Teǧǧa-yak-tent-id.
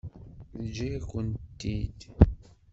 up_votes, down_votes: 1, 2